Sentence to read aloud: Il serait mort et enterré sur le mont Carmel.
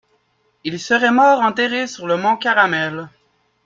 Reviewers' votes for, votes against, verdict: 0, 2, rejected